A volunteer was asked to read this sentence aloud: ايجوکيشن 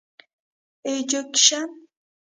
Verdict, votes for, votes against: rejected, 1, 2